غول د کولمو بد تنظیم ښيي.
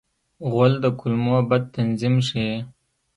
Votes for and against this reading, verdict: 0, 2, rejected